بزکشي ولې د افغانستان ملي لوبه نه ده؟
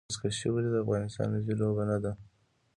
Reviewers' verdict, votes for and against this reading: accepted, 3, 0